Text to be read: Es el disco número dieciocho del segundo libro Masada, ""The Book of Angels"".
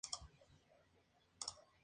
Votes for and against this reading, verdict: 0, 4, rejected